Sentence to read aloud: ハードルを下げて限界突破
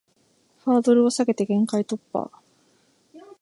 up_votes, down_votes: 2, 0